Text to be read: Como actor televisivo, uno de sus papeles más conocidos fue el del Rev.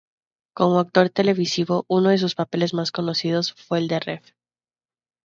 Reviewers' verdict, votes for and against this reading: accepted, 2, 0